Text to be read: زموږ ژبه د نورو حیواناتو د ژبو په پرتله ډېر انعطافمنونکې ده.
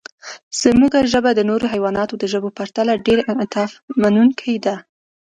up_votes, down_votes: 2, 1